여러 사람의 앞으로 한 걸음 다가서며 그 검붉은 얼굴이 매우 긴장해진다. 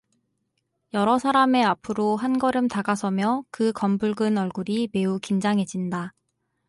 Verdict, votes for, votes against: accepted, 4, 0